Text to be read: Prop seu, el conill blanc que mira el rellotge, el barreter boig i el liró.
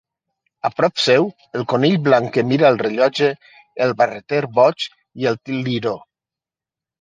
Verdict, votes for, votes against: rejected, 1, 2